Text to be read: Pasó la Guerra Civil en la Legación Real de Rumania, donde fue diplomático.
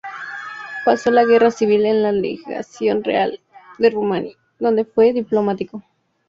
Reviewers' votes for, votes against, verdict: 2, 4, rejected